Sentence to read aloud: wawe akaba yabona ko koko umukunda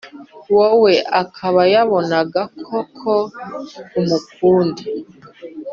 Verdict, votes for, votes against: rejected, 1, 2